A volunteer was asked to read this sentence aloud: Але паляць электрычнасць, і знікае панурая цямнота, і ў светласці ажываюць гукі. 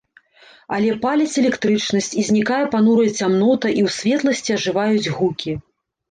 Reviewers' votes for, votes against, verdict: 2, 0, accepted